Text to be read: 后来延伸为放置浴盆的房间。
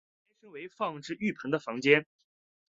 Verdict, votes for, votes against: rejected, 0, 2